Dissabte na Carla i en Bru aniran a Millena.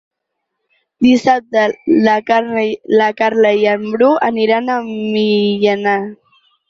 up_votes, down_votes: 0, 6